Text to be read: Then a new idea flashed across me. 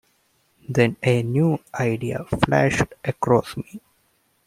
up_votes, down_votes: 0, 2